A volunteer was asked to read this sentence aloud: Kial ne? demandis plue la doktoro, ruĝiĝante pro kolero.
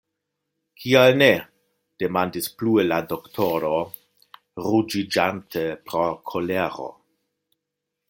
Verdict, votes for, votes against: accepted, 2, 0